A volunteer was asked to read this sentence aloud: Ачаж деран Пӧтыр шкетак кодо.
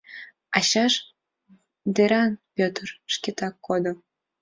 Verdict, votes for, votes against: rejected, 2, 3